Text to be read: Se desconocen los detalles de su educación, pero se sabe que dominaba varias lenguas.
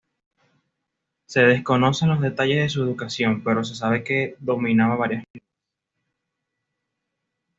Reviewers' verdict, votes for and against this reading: accepted, 2, 0